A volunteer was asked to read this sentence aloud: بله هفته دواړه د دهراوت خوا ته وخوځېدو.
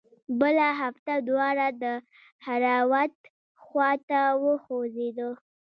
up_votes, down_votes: 2, 1